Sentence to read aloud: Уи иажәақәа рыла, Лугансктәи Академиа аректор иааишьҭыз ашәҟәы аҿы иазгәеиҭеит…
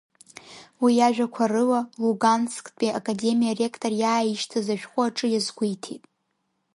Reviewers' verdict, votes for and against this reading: accepted, 3, 0